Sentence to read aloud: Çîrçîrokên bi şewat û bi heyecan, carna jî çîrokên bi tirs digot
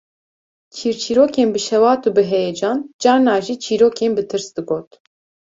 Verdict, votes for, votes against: accepted, 2, 0